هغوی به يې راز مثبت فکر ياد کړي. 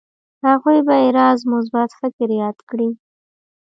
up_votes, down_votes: 1, 2